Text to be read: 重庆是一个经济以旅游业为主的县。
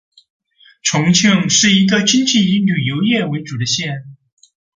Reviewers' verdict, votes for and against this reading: accepted, 2, 0